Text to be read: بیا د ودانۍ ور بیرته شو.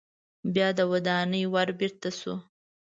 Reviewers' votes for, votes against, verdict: 2, 0, accepted